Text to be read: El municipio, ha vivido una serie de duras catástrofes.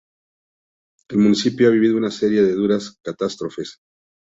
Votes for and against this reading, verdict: 2, 0, accepted